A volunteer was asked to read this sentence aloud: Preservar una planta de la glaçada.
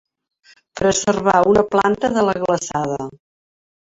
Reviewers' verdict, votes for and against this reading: accepted, 3, 0